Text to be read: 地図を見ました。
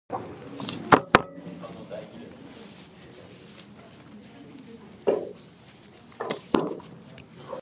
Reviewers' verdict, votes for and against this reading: rejected, 0, 2